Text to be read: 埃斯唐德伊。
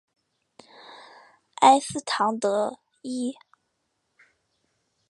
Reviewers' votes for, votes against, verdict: 3, 0, accepted